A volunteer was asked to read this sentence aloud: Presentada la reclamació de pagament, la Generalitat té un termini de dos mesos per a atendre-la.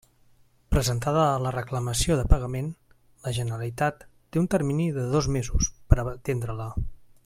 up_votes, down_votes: 1, 2